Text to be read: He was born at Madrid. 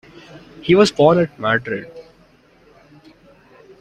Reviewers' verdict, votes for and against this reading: accepted, 2, 0